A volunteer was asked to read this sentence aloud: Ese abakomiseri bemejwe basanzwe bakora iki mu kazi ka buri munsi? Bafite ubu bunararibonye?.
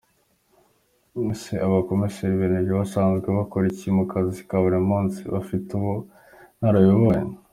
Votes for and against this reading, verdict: 2, 1, accepted